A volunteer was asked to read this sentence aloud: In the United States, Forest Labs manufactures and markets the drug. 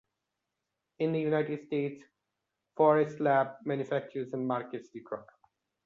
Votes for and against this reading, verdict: 2, 1, accepted